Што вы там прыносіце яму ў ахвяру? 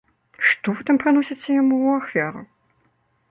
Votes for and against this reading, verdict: 1, 3, rejected